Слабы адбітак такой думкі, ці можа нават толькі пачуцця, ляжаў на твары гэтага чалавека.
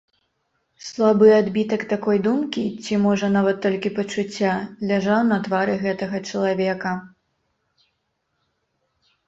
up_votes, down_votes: 2, 0